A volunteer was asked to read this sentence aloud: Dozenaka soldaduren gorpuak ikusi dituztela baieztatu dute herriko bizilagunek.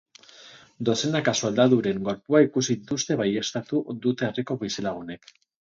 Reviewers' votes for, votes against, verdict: 2, 2, rejected